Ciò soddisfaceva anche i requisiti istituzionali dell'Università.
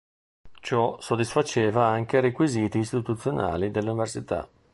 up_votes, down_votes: 1, 2